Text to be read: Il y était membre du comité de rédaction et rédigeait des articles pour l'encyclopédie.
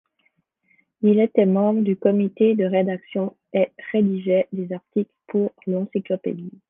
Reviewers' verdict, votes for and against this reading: rejected, 1, 2